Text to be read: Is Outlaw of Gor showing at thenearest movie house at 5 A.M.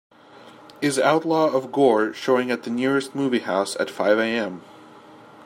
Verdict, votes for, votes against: rejected, 0, 2